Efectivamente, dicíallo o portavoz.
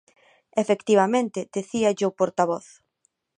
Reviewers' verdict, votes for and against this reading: rejected, 0, 2